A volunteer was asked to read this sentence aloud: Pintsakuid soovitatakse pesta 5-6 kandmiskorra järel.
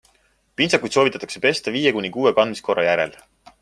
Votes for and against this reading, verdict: 0, 2, rejected